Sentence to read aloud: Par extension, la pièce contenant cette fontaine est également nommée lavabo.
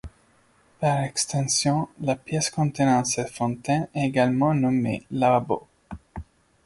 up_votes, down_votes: 1, 2